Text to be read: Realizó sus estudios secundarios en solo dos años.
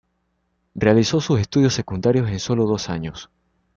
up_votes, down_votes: 2, 0